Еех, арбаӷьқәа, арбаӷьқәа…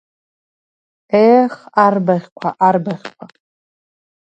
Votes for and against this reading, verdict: 2, 0, accepted